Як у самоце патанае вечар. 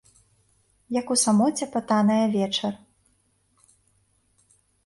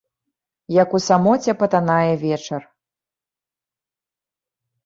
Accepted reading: second